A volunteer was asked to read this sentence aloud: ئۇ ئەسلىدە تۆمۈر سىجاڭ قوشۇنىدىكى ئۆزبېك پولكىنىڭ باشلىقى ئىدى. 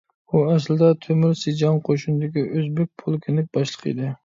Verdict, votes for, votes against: accepted, 2, 0